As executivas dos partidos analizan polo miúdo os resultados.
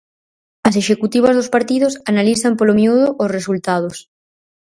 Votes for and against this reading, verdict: 4, 0, accepted